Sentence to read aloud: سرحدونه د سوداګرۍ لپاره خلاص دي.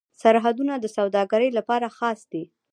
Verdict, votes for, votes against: rejected, 0, 2